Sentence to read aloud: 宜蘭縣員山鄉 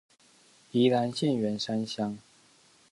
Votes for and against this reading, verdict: 2, 0, accepted